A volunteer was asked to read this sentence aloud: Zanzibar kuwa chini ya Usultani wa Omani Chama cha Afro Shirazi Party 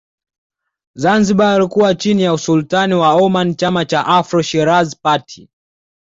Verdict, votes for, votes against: accepted, 2, 0